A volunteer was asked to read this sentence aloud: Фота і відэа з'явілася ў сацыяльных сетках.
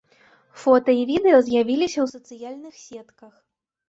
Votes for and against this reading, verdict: 2, 1, accepted